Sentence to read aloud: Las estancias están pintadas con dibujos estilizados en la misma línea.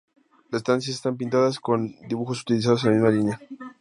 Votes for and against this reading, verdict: 0, 2, rejected